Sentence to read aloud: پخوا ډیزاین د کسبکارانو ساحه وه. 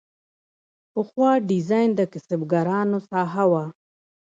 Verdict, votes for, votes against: accepted, 2, 0